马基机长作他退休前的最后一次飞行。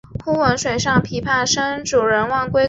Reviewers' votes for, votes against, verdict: 0, 2, rejected